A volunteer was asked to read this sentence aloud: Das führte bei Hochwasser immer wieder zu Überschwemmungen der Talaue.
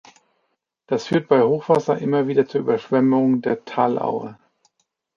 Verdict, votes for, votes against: rejected, 0, 2